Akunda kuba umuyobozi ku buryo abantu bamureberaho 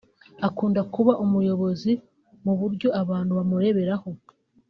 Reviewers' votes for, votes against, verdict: 1, 2, rejected